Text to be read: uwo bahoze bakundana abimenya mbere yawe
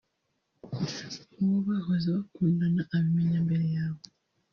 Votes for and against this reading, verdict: 0, 2, rejected